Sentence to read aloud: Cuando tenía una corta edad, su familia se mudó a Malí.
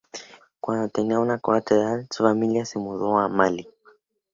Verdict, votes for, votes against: accepted, 4, 0